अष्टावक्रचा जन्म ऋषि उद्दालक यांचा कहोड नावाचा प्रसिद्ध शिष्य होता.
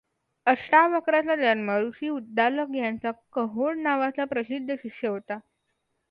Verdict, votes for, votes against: accepted, 2, 0